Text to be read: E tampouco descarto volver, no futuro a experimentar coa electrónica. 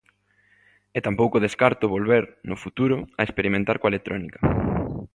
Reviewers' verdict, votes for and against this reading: accepted, 2, 0